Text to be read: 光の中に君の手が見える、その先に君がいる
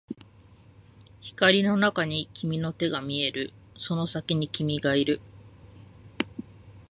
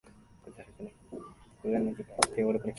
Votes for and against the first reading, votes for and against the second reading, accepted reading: 2, 0, 0, 2, first